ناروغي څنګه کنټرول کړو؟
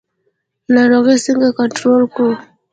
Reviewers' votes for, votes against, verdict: 1, 2, rejected